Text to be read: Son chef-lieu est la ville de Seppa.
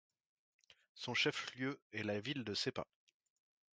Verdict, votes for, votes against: accepted, 2, 0